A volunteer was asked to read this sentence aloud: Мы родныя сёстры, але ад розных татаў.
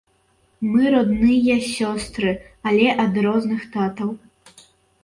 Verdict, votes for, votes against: rejected, 0, 2